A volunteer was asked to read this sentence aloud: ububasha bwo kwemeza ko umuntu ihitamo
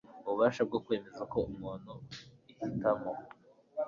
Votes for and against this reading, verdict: 3, 1, accepted